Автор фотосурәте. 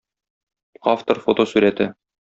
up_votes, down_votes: 2, 0